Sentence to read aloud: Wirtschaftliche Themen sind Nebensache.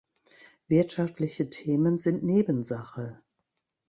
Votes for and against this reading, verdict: 2, 0, accepted